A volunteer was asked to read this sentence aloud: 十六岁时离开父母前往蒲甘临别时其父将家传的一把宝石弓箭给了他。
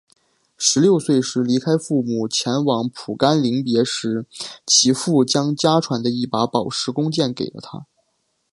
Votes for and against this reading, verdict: 3, 0, accepted